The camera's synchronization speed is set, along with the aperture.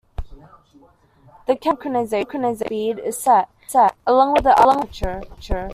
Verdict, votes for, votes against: rejected, 1, 2